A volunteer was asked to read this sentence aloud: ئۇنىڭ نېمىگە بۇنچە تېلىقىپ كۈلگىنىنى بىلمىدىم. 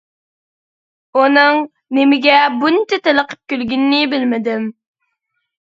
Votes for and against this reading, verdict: 2, 0, accepted